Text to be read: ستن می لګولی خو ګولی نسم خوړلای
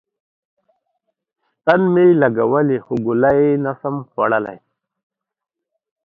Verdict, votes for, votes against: accepted, 2, 1